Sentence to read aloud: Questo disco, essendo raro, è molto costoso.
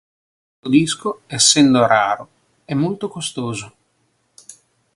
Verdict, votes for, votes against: rejected, 1, 2